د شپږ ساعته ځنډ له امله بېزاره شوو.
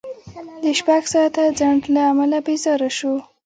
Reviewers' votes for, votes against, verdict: 0, 2, rejected